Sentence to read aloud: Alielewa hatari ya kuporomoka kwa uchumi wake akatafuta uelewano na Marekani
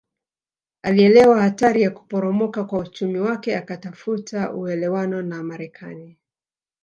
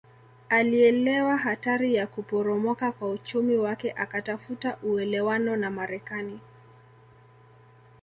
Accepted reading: first